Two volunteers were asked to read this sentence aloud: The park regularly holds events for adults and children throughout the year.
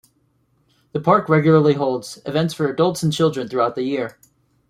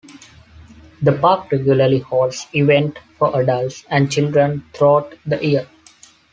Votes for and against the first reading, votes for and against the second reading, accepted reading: 2, 0, 1, 2, first